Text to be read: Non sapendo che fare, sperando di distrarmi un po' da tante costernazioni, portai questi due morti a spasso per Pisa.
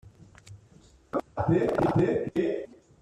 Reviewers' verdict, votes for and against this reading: rejected, 0, 2